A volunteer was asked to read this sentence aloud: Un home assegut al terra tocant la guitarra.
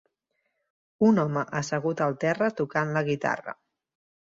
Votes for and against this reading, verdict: 4, 0, accepted